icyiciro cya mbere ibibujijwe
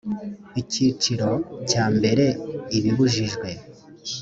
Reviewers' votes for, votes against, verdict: 2, 0, accepted